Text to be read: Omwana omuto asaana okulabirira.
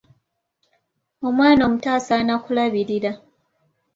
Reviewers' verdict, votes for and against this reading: rejected, 0, 2